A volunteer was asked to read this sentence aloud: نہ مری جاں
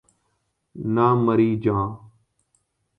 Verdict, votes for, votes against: accepted, 2, 0